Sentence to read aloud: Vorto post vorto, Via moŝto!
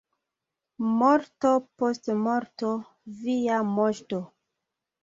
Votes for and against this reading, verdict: 0, 2, rejected